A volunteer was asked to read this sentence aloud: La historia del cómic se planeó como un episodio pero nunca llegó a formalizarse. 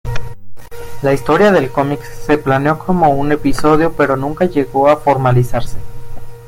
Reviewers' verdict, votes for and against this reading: accepted, 2, 1